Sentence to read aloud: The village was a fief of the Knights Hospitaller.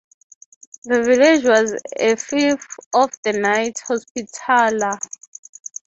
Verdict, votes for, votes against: accepted, 3, 0